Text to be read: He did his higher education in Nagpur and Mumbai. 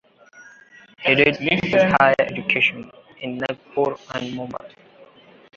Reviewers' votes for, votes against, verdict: 0, 2, rejected